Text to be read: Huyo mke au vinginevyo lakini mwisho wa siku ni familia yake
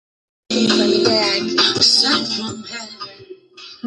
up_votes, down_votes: 1, 2